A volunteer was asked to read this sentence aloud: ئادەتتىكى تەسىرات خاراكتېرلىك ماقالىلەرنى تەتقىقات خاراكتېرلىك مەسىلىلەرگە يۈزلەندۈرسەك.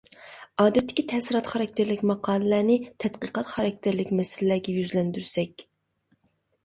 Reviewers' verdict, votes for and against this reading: accepted, 2, 0